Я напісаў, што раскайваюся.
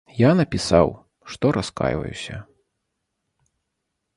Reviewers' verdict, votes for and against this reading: accepted, 2, 0